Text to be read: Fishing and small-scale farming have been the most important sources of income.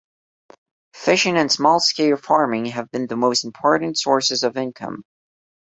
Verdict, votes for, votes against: accepted, 2, 0